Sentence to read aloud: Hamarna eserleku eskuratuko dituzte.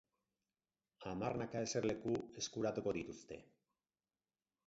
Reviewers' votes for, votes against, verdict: 2, 2, rejected